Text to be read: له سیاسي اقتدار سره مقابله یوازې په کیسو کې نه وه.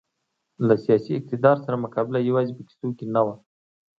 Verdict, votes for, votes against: accepted, 2, 0